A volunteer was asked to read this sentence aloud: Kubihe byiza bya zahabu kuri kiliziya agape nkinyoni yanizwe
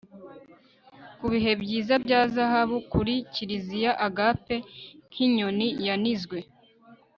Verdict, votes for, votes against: accepted, 2, 0